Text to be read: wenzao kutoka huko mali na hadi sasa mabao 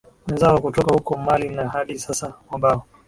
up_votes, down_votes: 3, 2